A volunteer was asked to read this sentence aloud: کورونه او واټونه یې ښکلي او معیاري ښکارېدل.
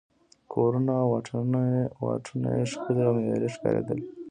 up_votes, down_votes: 2, 0